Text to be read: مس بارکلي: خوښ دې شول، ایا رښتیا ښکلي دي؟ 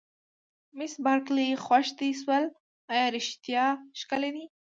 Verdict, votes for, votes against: accepted, 3, 0